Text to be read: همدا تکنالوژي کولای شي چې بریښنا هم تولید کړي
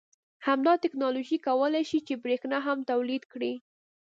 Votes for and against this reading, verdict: 2, 0, accepted